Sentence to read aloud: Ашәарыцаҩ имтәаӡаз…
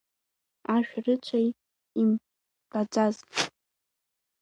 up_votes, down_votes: 1, 2